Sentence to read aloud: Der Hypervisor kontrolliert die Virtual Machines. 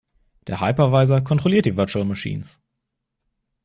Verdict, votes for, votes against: accepted, 2, 0